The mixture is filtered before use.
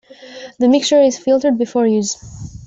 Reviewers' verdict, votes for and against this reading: accepted, 2, 0